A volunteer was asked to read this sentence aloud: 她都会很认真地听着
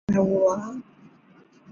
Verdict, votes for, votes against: rejected, 0, 2